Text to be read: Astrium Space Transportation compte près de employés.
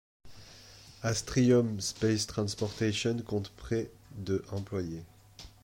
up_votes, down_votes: 2, 1